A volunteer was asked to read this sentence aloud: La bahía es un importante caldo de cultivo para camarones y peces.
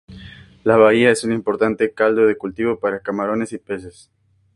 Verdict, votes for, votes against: accepted, 2, 0